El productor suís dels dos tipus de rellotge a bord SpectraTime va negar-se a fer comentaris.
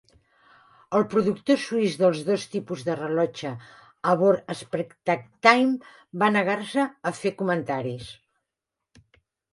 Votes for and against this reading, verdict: 0, 2, rejected